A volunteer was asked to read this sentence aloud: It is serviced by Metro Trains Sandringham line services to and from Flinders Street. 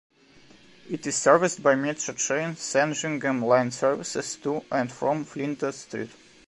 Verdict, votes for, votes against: accepted, 2, 0